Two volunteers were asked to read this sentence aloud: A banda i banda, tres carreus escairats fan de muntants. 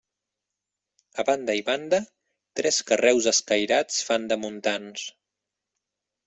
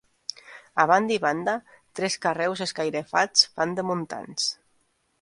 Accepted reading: first